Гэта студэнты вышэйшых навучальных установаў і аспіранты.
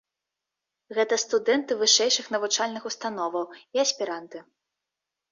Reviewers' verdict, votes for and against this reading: accepted, 2, 0